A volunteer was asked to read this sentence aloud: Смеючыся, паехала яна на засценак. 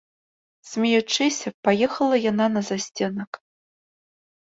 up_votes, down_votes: 2, 0